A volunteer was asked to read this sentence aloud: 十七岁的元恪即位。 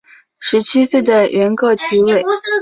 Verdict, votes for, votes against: accepted, 2, 0